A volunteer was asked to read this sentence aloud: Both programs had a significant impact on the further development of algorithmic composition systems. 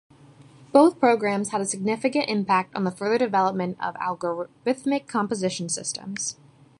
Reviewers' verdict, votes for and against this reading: rejected, 0, 2